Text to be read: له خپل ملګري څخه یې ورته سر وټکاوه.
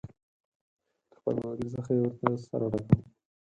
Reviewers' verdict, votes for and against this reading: rejected, 0, 4